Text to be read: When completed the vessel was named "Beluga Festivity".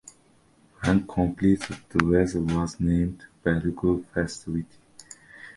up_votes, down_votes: 2, 0